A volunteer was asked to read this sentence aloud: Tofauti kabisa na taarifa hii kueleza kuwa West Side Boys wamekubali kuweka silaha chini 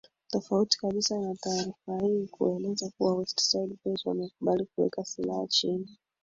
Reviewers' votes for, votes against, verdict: 1, 2, rejected